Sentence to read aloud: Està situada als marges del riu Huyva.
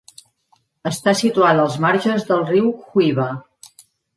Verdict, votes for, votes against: accepted, 2, 0